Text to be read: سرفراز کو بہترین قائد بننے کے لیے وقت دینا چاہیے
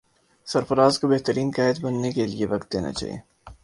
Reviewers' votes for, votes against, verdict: 3, 3, rejected